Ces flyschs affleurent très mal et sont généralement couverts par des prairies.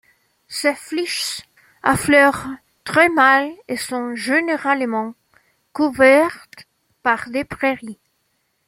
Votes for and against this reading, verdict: 2, 1, accepted